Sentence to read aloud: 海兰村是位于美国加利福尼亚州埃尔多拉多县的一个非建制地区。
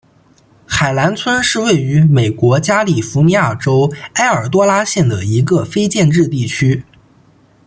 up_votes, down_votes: 2, 0